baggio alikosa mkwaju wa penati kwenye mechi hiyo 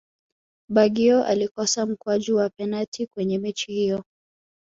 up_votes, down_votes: 2, 0